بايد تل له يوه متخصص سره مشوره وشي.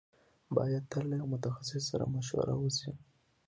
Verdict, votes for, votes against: accepted, 2, 0